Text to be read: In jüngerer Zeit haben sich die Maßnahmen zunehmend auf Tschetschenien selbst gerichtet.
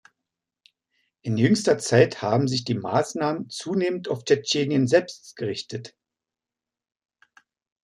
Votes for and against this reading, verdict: 0, 2, rejected